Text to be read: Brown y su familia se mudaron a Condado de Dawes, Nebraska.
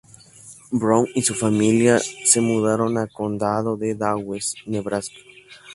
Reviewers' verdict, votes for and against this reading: accepted, 4, 0